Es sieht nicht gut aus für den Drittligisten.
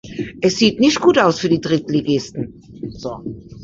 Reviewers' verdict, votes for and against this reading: rejected, 1, 2